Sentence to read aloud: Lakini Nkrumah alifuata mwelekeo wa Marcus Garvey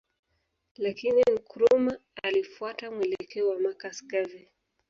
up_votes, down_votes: 2, 0